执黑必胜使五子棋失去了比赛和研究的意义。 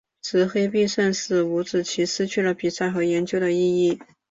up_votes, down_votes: 2, 1